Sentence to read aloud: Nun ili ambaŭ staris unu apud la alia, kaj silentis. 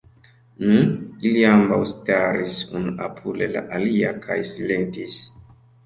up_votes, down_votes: 1, 2